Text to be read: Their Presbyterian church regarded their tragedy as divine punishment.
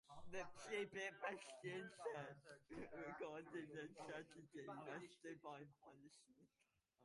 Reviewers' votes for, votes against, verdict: 0, 2, rejected